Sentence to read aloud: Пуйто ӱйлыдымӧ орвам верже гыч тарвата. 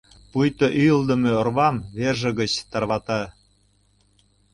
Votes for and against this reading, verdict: 2, 0, accepted